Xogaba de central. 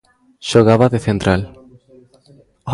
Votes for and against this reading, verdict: 0, 2, rejected